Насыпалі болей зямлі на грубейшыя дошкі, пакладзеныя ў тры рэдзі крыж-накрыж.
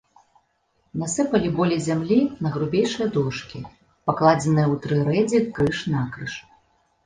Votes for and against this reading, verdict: 2, 0, accepted